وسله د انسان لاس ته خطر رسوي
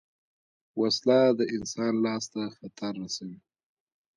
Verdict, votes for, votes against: accepted, 2, 0